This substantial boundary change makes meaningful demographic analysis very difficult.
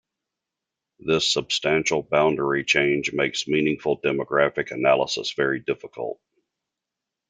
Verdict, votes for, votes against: accepted, 2, 1